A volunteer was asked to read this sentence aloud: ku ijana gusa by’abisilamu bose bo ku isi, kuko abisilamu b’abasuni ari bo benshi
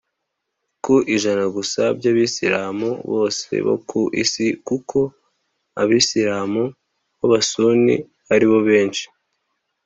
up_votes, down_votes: 2, 1